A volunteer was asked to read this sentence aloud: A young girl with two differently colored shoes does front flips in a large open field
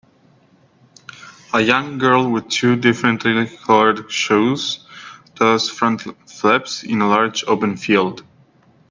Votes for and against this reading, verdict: 1, 2, rejected